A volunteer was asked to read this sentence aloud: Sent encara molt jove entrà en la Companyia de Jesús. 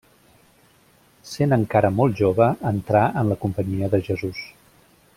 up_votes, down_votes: 2, 0